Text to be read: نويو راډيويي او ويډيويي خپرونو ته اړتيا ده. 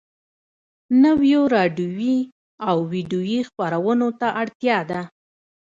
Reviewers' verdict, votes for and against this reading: accepted, 3, 1